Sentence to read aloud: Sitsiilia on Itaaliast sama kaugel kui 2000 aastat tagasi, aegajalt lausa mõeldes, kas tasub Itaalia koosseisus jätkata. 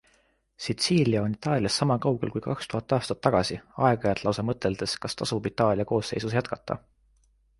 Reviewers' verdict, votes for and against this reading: rejected, 0, 2